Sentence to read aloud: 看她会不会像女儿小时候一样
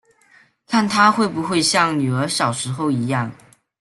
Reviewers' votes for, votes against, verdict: 2, 0, accepted